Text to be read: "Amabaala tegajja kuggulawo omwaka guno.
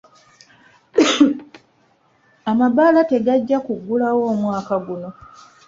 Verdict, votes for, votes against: accepted, 3, 1